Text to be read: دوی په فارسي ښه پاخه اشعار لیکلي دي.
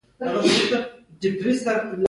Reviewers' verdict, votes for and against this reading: accepted, 2, 1